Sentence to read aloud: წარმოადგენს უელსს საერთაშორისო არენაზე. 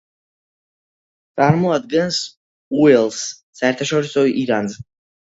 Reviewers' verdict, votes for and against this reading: rejected, 0, 2